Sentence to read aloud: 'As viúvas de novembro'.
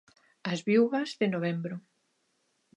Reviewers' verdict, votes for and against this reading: accepted, 2, 0